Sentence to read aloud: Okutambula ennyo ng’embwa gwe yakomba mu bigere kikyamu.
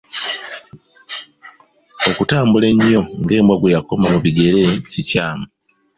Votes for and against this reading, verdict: 2, 0, accepted